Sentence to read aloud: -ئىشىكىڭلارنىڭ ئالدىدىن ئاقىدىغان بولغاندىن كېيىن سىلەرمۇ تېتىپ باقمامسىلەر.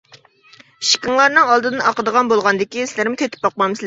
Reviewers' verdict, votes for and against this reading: rejected, 1, 2